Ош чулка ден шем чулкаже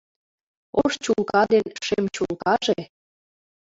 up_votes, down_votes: 2, 0